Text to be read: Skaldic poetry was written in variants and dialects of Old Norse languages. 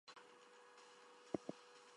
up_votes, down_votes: 0, 2